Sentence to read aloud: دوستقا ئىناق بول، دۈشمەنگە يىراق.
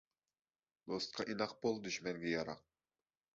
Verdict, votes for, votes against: rejected, 0, 2